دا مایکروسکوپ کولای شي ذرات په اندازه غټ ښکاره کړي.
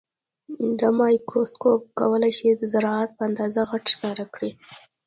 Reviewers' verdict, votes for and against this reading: rejected, 1, 2